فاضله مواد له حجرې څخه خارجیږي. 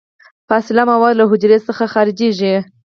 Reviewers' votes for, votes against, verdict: 4, 0, accepted